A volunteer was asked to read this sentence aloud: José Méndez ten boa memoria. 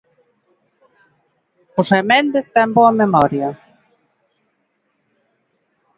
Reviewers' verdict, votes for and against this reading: accepted, 2, 0